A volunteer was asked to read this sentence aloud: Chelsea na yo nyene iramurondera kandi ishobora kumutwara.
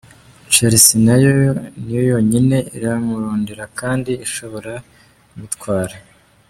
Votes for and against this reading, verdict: 0, 2, rejected